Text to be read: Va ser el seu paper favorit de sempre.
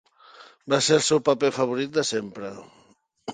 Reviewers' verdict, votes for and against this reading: accepted, 3, 0